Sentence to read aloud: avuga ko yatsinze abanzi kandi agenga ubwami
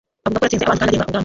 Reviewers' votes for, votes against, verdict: 0, 2, rejected